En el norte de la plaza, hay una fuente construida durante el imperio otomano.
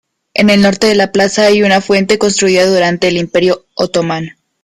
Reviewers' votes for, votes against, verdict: 2, 1, accepted